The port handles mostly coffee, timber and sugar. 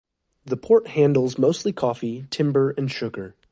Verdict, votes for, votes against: accepted, 2, 0